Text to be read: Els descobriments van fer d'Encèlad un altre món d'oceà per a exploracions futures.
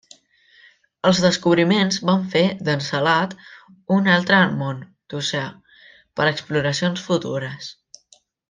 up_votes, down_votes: 1, 2